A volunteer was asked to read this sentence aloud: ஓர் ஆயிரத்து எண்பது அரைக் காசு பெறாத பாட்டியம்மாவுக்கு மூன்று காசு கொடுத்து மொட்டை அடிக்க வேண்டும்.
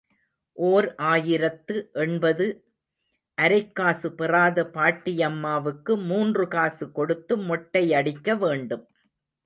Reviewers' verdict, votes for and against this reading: accepted, 2, 0